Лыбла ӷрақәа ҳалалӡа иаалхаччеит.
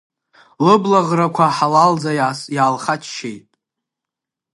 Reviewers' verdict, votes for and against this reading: rejected, 1, 2